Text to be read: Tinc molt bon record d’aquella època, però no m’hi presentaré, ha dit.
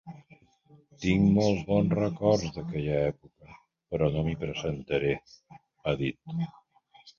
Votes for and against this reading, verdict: 0, 2, rejected